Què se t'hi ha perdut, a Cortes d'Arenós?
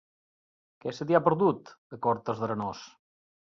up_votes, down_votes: 2, 0